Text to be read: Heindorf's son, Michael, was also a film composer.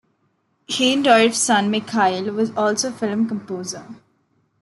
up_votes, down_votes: 1, 2